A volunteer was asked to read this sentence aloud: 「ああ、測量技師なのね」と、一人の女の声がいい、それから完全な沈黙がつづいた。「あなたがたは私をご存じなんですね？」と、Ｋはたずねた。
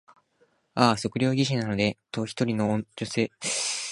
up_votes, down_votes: 3, 9